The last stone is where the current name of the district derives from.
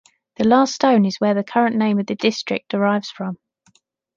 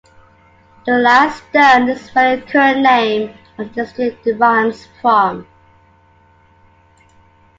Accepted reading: first